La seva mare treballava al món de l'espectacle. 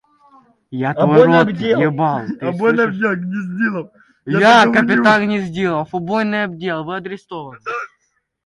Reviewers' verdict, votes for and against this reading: rejected, 0, 2